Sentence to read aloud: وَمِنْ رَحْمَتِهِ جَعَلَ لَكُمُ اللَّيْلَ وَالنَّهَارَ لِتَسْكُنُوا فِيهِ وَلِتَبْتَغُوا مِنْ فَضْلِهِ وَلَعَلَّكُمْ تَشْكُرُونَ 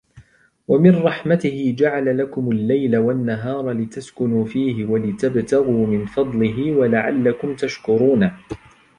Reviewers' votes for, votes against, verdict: 1, 2, rejected